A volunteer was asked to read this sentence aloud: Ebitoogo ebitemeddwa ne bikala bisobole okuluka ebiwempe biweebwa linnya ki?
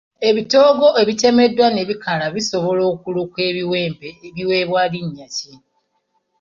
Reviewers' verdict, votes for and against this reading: rejected, 1, 2